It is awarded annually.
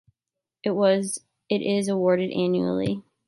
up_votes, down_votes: 0, 2